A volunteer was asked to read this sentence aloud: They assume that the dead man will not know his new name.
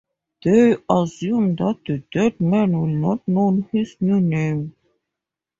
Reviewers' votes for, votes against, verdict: 2, 0, accepted